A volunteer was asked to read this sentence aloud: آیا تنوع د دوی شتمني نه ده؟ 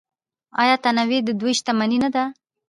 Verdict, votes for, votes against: rejected, 0, 2